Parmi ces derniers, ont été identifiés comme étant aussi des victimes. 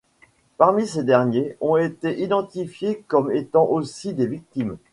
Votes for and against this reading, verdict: 2, 0, accepted